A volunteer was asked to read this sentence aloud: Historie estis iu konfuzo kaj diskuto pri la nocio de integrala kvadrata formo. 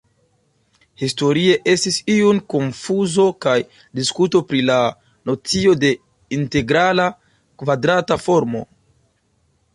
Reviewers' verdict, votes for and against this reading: accepted, 2, 0